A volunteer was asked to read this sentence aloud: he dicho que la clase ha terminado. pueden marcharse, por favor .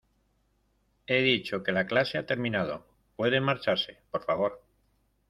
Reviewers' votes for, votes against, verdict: 2, 0, accepted